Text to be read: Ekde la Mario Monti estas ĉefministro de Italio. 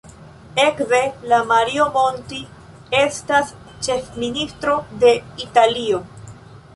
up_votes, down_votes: 0, 3